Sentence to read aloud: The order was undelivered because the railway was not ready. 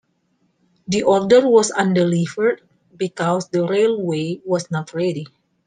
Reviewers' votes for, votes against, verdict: 2, 0, accepted